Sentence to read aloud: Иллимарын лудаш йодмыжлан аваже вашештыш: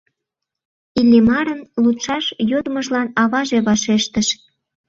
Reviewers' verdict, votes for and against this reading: rejected, 0, 2